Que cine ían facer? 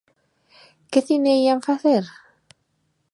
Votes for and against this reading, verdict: 2, 0, accepted